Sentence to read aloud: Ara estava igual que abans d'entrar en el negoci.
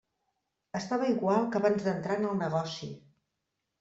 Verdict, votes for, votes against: rejected, 0, 2